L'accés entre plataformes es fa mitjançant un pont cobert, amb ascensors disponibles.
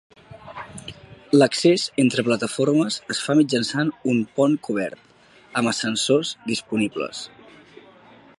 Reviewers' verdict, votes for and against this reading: accepted, 4, 0